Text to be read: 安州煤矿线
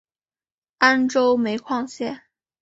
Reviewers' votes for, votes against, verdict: 6, 1, accepted